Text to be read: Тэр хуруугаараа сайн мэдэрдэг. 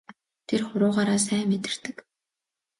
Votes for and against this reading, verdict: 2, 0, accepted